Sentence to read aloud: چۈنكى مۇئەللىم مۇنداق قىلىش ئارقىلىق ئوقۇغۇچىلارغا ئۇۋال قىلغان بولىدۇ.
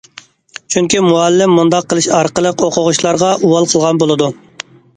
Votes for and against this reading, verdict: 2, 0, accepted